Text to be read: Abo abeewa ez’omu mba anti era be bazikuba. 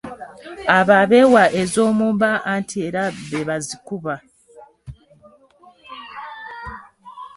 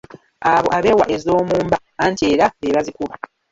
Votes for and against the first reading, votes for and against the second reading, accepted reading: 3, 0, 1, 2, first